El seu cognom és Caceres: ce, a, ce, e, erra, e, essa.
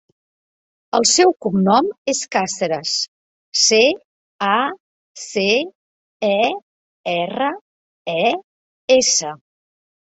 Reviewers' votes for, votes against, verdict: 1, 2, rejected